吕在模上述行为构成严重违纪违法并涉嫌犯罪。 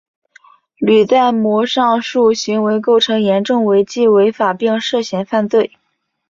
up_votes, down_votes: 2, 0